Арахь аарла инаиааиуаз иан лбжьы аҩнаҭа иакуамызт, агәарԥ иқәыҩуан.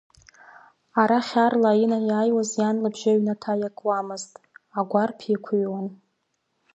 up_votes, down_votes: 2, 0